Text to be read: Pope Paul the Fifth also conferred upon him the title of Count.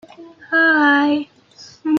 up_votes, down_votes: 0, 2